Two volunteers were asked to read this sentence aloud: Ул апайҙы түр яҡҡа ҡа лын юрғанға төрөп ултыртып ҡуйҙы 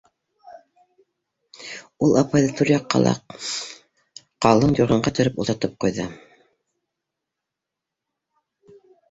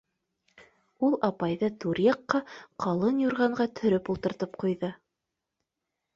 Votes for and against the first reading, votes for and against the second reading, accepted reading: 1, 2, 2, 0, second